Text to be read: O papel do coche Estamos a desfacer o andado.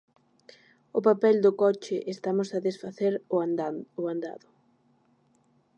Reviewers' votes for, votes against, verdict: 0, 2, rejected